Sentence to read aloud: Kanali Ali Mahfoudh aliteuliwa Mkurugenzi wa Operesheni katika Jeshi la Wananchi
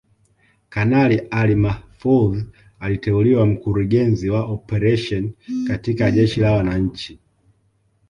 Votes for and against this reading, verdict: 2, 0, accepted